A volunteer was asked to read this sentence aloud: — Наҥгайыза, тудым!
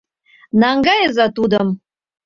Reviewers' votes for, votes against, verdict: 2, 0, accepted